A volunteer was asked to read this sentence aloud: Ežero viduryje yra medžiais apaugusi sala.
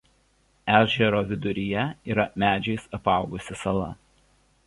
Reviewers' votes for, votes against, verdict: 2, 0, accepted